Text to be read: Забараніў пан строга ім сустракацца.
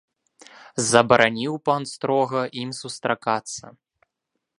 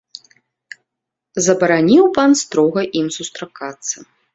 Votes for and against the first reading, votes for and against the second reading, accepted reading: 0, 2, 2, 0, second